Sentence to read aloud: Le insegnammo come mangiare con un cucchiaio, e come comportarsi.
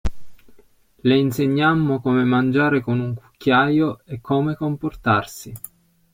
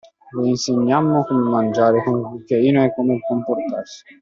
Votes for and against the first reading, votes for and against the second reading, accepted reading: 2, 0, 0, 2, first